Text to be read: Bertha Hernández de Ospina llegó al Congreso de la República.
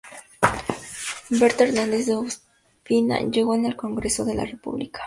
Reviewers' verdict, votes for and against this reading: rejected, 0, 2